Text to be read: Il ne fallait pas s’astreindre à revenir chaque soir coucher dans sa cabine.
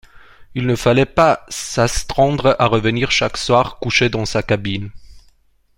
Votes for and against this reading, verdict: 0, 2, rejected